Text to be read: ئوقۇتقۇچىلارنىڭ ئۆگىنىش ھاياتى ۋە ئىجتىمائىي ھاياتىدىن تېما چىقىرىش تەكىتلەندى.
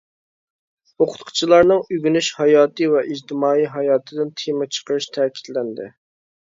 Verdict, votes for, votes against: accepted, 2, 0